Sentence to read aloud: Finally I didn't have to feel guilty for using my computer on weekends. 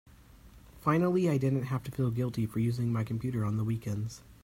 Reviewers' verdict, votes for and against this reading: rejected, 1, 2